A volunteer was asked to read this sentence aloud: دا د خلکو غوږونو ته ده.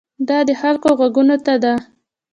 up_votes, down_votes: 2, 1